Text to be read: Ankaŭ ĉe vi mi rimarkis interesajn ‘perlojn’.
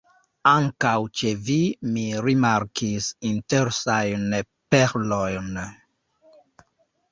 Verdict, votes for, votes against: rejected, 0, 2